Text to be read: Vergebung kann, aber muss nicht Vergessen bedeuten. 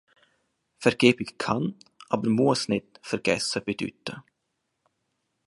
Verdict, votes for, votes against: accepted, 3, 2